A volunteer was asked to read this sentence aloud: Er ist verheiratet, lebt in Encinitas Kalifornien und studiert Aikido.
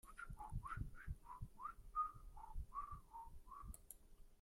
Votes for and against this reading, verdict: 0, 2, rejected